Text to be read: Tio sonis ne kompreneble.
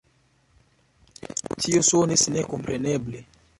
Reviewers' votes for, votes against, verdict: 2, 1, accepted